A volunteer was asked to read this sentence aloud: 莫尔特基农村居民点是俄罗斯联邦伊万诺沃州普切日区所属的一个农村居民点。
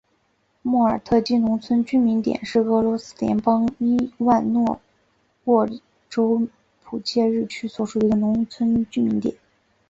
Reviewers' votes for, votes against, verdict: 9, 2, accepted